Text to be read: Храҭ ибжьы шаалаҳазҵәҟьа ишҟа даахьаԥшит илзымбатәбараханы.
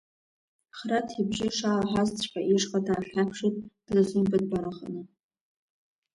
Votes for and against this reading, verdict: 1, 2, rejected